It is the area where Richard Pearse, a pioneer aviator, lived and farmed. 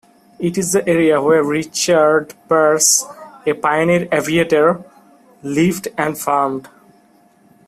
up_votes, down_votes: 0, 2